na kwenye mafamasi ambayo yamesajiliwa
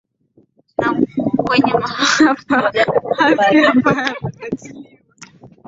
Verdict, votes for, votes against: rejected, 0, 2